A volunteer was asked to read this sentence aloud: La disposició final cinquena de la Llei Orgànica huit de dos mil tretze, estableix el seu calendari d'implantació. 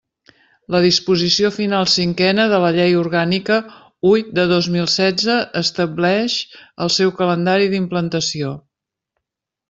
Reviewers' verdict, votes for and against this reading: rejected, 0, 2